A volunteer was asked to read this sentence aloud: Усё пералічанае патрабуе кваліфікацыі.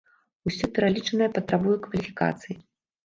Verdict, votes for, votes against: accepted, 2, 0